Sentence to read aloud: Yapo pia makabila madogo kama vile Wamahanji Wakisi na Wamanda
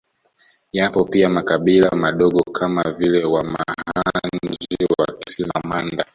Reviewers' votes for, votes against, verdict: 0, 2, rejected